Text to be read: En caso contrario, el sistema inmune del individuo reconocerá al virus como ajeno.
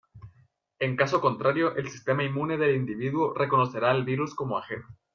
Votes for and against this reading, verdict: 1, 2, rejected